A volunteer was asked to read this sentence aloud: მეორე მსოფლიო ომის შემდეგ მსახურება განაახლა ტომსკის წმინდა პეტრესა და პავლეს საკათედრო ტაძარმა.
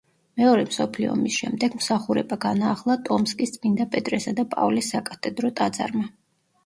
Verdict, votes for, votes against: rejected, 0, 2